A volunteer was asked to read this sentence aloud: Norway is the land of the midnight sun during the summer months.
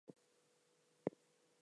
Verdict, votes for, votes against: rejected, 0, 4